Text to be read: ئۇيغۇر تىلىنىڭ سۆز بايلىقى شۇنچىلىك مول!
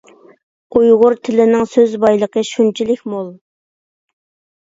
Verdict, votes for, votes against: accepted, 2, 0